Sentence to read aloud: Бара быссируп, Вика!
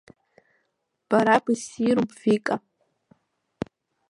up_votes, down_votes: 0, 2